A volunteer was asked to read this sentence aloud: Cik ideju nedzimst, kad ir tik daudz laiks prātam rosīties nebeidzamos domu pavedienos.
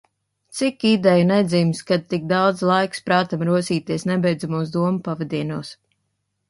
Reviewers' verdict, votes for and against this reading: rejected, 1, 2